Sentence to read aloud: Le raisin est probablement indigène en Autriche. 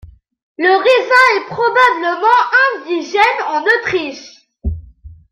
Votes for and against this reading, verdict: 2, 1, accepted